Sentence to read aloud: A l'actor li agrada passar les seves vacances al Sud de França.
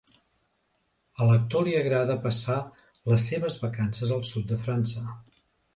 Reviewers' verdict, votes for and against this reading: accepted, 2, 0